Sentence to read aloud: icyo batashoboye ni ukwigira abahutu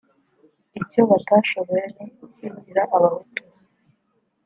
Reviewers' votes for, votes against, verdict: 1, 2, rejected